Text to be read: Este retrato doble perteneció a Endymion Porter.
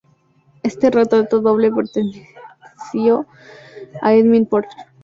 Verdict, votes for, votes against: accepted, 2, 0